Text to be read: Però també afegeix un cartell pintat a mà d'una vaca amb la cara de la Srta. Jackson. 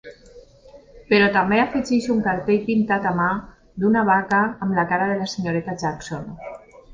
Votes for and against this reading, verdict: 2, 1, accepted